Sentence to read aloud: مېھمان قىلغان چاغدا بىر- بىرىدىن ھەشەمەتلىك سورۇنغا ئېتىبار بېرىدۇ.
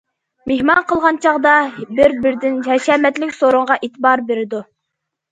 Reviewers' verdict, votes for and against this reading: accepted, 2, 0